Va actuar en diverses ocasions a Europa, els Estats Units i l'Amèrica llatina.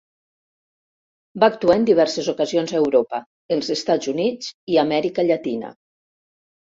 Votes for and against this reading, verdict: 0, 2, rejected